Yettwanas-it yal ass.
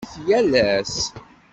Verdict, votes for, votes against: rejected, 1, 2